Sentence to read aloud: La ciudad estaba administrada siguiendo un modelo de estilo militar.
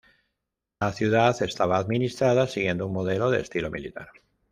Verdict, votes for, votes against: accepted, 2, 0